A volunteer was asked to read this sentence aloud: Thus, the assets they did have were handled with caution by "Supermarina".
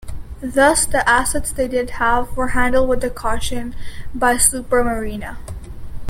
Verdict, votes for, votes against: rejected, 1, 2